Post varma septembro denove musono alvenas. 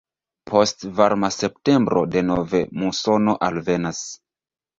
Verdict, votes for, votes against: rejected, 1, 2